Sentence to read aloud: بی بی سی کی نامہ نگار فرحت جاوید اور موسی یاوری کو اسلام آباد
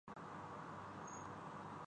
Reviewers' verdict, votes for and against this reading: rejected, 0, 2